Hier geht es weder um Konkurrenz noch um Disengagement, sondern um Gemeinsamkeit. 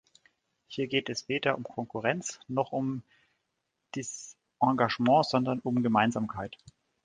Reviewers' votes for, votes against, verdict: 1, 2, rejected